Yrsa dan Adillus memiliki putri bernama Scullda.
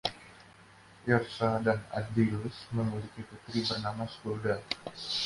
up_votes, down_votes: 2, 1